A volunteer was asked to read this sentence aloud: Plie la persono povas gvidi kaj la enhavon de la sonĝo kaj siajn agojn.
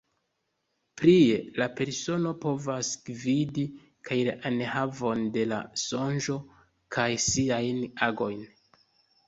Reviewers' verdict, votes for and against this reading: accepted, 2, 0